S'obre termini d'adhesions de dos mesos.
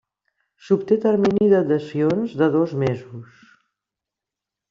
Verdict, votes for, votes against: rejected, 0, 2